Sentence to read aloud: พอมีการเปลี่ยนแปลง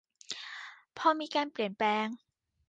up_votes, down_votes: 2, 0